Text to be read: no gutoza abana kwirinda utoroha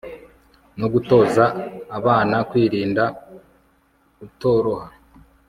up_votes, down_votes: 2, 0